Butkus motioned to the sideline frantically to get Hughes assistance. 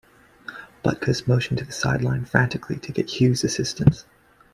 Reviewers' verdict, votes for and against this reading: accepted, 2, 1